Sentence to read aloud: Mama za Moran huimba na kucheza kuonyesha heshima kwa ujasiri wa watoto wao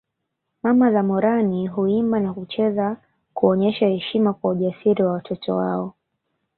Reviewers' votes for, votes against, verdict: 2, 0, accepted